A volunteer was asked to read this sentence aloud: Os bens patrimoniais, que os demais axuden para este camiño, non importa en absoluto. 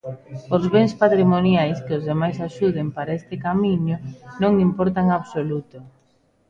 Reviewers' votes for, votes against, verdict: 1, 2, rejected